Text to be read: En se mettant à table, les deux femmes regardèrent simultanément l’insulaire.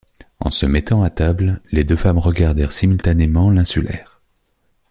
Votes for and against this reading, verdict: 2, 0, accepted